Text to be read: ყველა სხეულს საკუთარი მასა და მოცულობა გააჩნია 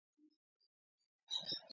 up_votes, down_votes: 0, 2